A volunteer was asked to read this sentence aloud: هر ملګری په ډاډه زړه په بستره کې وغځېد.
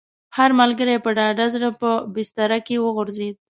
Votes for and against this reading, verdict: 2, 0, accepted